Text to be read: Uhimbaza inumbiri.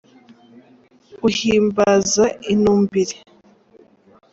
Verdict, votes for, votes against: accepted, 2, 0